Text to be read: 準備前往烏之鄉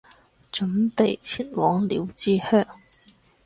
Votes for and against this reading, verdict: 2, 2, rejected